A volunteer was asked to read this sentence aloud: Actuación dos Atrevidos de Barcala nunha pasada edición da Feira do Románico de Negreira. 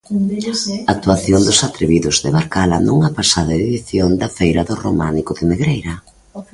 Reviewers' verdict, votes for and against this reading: rejected, 0, 2